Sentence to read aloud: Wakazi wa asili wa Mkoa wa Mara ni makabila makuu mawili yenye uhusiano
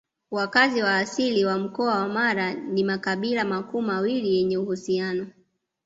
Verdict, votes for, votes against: accepted, 2, 0